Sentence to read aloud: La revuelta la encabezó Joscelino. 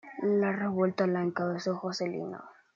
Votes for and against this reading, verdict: 2, 1, accepted